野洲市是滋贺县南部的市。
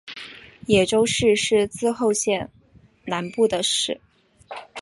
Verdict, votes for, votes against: accepted, 2, 0